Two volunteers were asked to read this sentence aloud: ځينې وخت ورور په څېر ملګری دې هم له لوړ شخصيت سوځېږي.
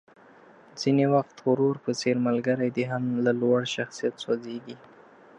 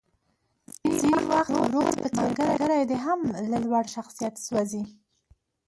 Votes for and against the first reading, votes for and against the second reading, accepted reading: 2, 0, 0, 2, first